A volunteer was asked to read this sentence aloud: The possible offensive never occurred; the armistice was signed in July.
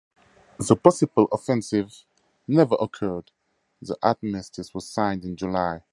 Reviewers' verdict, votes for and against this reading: accepted, 4, 0